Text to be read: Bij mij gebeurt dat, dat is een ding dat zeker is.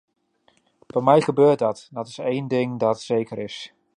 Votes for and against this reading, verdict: 2, 0, accepted